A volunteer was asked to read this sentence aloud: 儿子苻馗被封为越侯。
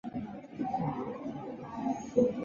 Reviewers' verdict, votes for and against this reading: rejected, 0, 5